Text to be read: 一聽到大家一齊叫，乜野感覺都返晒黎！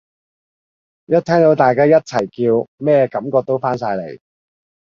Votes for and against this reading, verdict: 0, 2, rejected